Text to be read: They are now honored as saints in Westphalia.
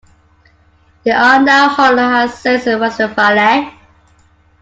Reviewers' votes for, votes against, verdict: 1, 2, rejected